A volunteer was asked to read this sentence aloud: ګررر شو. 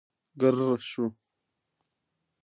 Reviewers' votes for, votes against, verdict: 2, 0, accepted